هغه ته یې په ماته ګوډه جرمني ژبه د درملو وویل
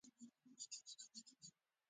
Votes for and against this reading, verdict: 1, 2, rejected